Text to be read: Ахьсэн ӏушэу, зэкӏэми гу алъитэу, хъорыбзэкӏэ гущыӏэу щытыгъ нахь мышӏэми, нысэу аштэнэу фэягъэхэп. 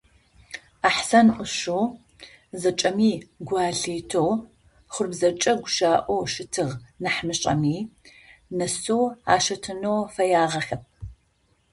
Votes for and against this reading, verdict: 0, 4, rejected